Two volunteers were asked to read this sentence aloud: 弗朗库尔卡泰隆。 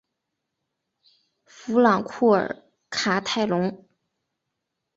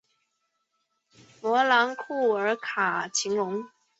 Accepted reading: second